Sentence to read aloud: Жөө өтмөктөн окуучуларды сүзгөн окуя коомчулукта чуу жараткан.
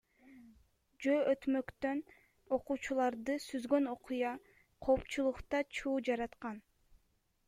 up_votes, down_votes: 1, 2